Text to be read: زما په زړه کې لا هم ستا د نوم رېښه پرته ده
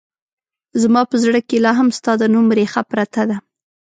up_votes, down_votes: 2, 0